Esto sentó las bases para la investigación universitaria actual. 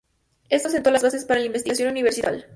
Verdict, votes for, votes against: rejected, 2, 2